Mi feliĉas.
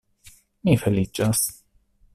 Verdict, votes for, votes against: accepted, 2, 0